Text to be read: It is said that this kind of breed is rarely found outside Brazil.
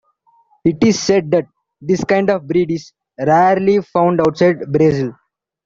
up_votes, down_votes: 2, 1